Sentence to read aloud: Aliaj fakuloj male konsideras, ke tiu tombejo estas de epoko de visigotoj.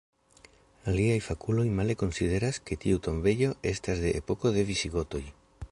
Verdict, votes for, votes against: accepted, 2, 0